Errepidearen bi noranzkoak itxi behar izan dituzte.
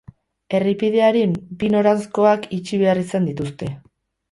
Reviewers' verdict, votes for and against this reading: rejected, 0, 2